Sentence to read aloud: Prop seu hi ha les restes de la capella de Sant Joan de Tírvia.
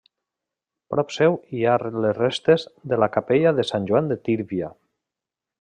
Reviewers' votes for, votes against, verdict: 2, 0, accepted